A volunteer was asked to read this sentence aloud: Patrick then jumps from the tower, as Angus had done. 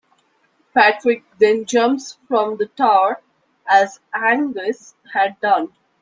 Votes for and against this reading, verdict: 2, 1, accepted